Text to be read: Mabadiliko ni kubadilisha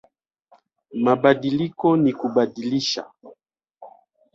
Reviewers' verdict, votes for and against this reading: accepted, 2, 0